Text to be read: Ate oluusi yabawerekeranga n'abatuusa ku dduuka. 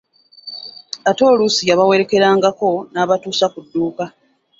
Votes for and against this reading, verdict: 1, 2, rejected